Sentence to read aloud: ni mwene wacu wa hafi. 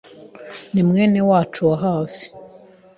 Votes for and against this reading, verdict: 2, 0, accepted